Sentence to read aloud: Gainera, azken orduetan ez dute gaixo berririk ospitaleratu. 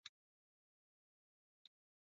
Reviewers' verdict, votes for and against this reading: rejected, 1, 3